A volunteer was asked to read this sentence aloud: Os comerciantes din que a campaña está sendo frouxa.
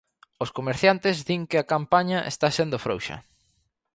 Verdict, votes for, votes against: accepted, 2, 0